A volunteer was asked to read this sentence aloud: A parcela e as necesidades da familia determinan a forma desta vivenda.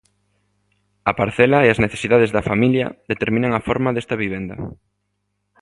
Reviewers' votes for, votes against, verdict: 2, 0, accepted